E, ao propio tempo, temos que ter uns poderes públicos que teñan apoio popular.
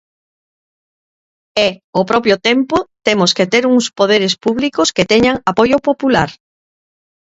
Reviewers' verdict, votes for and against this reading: accepted, 2, 0